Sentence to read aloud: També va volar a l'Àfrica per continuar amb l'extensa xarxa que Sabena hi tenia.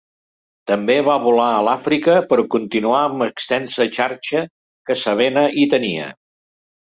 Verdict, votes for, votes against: accepted, 3, 0